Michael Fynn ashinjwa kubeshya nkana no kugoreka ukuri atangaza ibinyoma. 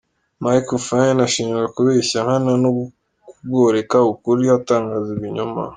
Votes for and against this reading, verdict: 2, 0, accepted